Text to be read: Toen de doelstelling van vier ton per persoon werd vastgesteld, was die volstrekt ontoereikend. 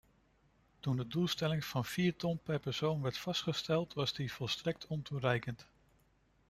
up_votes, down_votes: 2, 0